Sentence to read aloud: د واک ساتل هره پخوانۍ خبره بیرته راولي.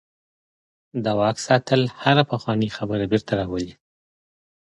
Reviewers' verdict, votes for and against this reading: accepted, 3, 0